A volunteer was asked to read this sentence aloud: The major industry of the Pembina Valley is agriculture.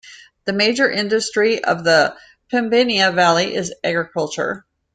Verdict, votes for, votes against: rejected, 1, 2